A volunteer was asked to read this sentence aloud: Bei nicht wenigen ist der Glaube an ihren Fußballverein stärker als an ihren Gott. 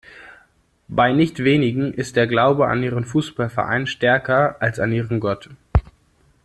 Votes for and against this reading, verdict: 2, 0, accepted